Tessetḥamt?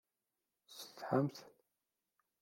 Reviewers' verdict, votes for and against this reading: accepted, 2, 0